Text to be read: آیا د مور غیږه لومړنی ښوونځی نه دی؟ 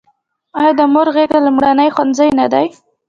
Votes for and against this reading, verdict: 1, 2, rejected